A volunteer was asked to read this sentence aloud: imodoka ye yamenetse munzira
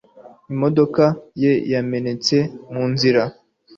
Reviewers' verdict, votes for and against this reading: accepted, 2, 0